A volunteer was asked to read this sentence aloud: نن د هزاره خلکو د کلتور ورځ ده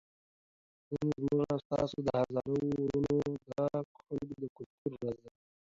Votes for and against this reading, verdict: 0, 2, rejected